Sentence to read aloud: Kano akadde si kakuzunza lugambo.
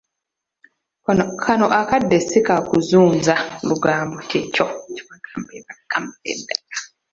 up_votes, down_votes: 0, 2